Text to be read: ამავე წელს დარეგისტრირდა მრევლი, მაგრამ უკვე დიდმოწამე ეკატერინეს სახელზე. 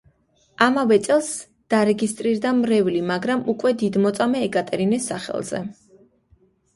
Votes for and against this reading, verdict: 3, 0, accepted